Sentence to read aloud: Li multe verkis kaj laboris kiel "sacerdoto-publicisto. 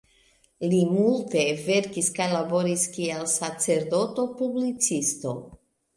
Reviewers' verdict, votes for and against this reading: accepted, 3, 0